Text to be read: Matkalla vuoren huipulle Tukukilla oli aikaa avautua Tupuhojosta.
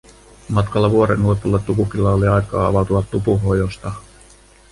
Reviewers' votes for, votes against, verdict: 2, 0, accepted